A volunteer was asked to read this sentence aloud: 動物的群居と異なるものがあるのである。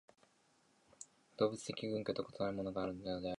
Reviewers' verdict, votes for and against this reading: rejected, 2, 7